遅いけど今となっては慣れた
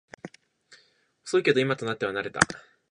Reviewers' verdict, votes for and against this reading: accepted, 2, 0